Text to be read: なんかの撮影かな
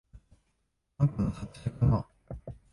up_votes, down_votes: 1, 2